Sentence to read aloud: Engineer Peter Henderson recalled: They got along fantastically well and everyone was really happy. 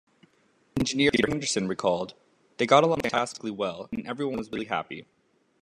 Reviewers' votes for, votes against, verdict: 1, 2, rejected